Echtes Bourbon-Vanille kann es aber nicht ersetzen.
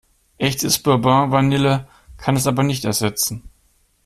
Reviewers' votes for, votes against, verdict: 2, 0, accepted